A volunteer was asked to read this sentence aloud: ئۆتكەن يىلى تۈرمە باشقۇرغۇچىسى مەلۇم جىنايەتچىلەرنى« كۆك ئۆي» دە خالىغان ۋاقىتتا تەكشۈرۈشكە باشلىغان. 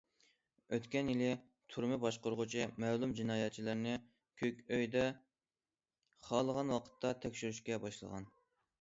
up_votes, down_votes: 1, 2